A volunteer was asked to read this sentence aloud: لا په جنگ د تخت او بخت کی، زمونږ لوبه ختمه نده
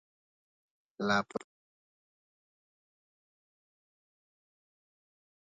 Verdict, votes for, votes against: rejected, 1, 2